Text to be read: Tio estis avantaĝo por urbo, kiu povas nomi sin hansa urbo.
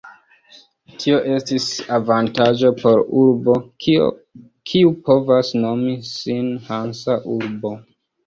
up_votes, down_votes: 1, 2